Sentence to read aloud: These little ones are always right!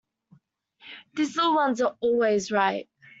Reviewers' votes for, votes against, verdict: 2, 0, accepted